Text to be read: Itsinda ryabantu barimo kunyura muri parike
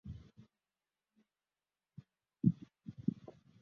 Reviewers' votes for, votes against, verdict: 0, 2, rejected